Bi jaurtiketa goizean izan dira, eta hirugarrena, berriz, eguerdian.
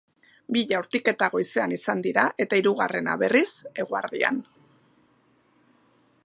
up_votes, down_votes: 0, 2